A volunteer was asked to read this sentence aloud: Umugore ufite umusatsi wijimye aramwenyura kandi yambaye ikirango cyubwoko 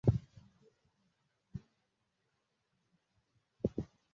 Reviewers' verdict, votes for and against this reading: rejected, 0, 2